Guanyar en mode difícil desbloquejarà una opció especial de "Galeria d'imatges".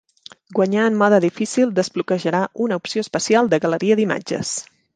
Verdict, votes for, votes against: accepted, 3, 0